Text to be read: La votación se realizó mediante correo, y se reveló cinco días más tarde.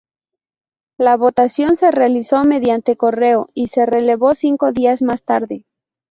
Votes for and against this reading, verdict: 0, 2, rejected